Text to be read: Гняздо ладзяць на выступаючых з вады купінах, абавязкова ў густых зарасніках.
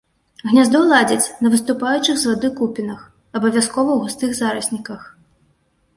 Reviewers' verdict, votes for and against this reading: accepted, 2, 0